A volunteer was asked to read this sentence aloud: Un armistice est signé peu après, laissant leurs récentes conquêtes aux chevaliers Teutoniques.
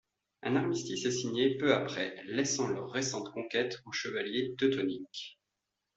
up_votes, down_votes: 2, 0